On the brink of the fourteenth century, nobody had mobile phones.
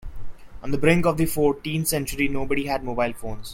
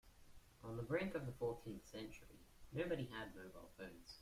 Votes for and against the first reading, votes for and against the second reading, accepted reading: 2, 0, 0, 2, first